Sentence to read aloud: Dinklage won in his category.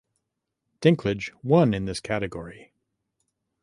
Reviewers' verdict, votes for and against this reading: rejected, 0, 2